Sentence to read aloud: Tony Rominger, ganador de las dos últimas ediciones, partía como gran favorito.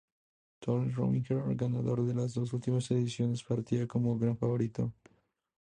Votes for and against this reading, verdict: 2, 0, accepted